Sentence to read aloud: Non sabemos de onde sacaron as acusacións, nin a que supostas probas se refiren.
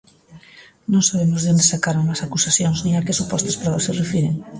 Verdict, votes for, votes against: accepted, 2, 0